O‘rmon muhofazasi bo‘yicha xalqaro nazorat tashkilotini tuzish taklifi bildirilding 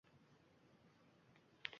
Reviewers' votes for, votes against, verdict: 1, 2, rejected